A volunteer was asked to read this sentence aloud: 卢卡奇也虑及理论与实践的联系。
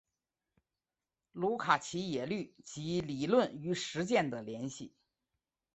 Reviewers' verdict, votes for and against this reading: accepted, 3, 1